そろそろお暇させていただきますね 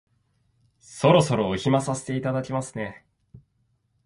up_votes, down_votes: 1, 2